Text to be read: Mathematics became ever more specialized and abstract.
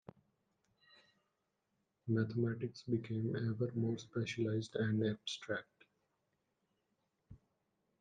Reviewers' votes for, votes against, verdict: 1, 2, rejected